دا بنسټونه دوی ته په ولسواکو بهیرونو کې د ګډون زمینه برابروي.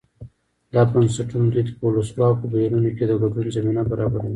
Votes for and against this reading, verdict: 2, 0, accepted